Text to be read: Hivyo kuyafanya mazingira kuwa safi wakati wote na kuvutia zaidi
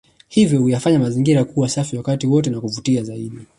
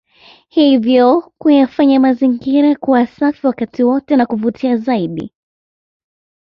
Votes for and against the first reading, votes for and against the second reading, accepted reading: 2, 0, 0, 2, first